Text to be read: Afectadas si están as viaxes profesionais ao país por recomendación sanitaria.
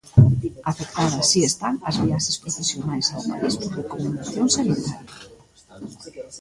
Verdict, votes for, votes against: rejected, 0, 2